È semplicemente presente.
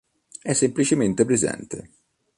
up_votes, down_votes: 2, 0